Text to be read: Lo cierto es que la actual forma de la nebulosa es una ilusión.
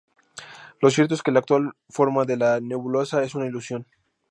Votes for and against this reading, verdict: 2, 0, accepted